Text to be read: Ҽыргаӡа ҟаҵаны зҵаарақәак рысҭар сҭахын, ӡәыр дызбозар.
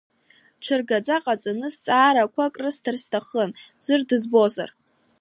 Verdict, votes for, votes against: accepted, 2, 1